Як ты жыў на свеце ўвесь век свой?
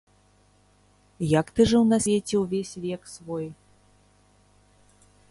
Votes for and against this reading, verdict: 0, 2, rejected